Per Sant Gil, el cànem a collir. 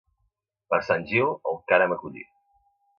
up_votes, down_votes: 2, 0